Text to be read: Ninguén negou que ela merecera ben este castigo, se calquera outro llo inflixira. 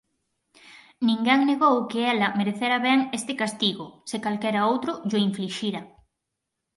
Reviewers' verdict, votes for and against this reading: accepted, 4, 0